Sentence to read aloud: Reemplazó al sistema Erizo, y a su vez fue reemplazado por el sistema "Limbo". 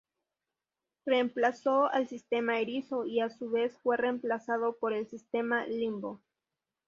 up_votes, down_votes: 2, 0